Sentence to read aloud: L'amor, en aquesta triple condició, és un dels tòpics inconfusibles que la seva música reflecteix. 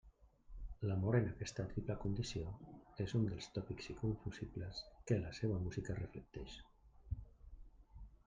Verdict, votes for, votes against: rejected, 0, 2